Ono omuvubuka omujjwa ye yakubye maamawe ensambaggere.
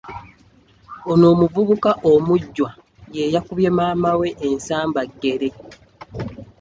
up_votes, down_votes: 2, 0